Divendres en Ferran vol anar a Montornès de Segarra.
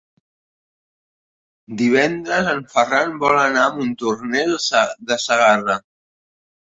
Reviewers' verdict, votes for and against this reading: rejected, 0, 2